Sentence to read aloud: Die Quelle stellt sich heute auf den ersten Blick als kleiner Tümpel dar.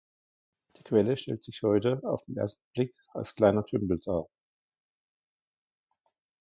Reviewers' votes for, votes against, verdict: 0, 2, rejected